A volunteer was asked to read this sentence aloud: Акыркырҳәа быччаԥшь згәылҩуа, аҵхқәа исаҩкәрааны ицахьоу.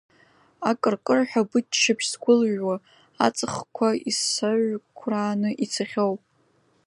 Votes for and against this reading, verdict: 2, 1, accepted